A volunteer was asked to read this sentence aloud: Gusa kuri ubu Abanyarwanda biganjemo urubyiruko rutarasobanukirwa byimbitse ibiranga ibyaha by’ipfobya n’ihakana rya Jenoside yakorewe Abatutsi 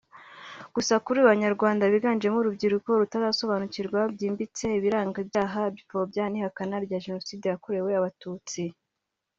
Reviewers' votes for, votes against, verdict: 1, 2, rejected